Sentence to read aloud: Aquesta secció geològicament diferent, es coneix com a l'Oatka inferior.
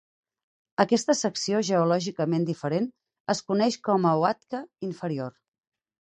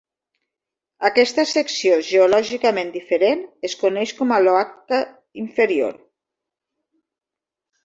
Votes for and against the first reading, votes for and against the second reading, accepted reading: 4, 2, 0, 2, first